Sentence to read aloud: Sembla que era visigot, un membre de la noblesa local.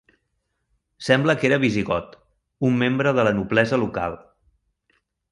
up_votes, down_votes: 3, 0